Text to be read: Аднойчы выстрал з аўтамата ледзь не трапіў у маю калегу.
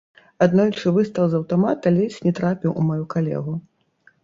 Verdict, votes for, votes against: rejected, 2, 3